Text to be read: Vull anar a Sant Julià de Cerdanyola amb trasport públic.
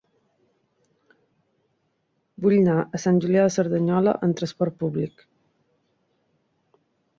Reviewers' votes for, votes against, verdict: 0, 2, rejected